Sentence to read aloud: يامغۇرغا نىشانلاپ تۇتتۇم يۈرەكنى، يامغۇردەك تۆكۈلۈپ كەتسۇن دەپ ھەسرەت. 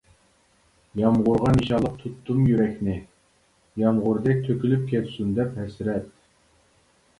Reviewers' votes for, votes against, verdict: 0, 2, rejected